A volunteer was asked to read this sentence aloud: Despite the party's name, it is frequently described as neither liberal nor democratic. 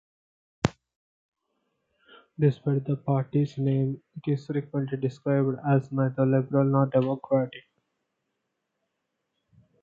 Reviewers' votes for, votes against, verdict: 0, 2, rejected